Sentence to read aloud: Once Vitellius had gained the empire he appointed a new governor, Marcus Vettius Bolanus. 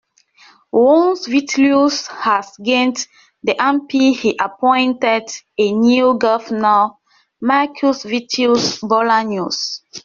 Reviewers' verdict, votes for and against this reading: rejected, 0, 2